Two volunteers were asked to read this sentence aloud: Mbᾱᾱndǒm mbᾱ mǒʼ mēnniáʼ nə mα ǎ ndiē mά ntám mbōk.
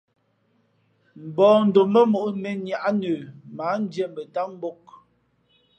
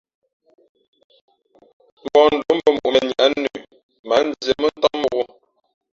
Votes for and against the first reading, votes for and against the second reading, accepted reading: 2, 0, 1, 2, first